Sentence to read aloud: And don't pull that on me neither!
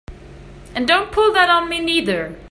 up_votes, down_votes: 3, 0